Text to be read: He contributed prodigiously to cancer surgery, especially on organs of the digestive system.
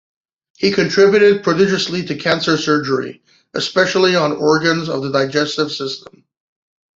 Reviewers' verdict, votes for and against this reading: accepted, 2, 0